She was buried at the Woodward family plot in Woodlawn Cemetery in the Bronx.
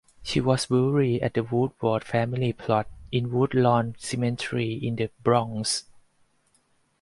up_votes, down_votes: 2, 4